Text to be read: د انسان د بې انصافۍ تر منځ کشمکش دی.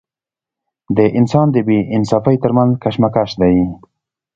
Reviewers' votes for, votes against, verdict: 2, 0, accepted